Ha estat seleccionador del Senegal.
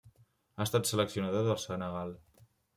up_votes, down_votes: 2, 0